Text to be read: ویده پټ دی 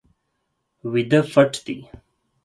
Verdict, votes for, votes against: accepted, 4, 0